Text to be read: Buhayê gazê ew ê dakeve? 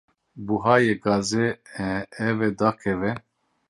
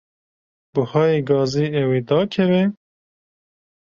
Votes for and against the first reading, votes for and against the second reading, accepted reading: 0, 2, 2, 0, second